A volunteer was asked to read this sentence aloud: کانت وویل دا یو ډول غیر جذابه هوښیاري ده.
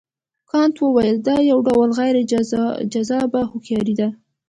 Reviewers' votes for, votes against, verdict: 2, 1, accepted